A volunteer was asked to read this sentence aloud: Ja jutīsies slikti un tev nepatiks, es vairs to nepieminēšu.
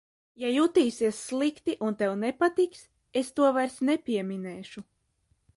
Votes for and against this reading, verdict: 0, 2, rejected